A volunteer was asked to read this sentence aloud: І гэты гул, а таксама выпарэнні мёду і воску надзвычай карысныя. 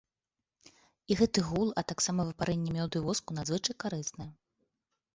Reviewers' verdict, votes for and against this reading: rejected, 1, 2